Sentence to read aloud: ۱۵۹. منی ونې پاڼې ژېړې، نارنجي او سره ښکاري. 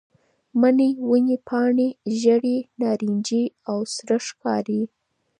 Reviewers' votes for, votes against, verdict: 0, 2, rejected